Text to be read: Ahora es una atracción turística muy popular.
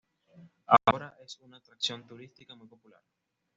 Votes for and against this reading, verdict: 2, 0, accepted